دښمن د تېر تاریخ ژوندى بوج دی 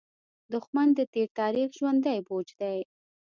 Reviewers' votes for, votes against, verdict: 0, 2, rejected